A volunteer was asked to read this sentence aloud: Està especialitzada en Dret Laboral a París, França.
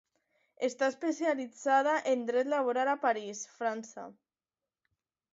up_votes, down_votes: 2, 0